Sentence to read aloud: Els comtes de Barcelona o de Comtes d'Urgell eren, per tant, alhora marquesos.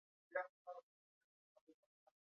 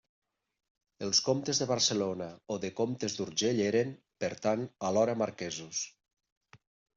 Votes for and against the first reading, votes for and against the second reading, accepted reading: 1, 2, 3, 0, second